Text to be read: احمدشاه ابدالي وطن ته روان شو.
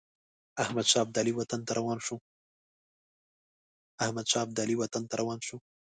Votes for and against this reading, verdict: 1, 2, rejected